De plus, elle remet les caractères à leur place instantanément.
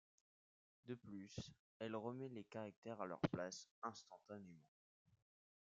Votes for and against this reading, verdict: 1, 2, rejected